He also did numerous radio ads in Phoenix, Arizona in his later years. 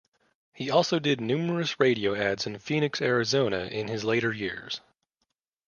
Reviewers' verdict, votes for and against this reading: accepted, 2, 0